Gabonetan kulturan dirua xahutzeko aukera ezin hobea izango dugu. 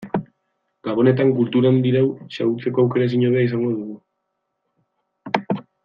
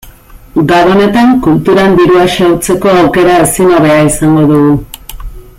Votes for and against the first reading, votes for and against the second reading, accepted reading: 0, 2, 2, 0, second